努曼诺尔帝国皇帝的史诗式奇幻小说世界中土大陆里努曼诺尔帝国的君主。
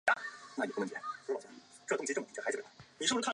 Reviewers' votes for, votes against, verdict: 1, 2, rejected